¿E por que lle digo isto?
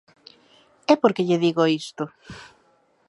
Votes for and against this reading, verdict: 2, 0, accepted